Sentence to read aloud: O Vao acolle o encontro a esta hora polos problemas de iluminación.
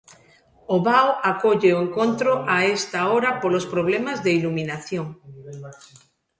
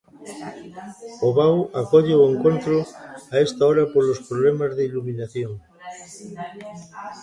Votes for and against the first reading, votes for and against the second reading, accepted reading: 2, 0, 0, 2, first